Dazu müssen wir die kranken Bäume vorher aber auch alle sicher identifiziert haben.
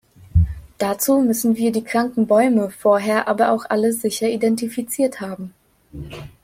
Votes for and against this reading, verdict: 2, 0, accepted